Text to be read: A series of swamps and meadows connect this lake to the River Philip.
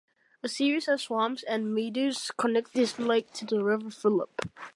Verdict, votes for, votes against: rejected, 0, 2